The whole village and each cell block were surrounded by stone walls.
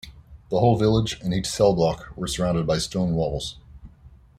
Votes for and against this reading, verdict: 2, 0, accepted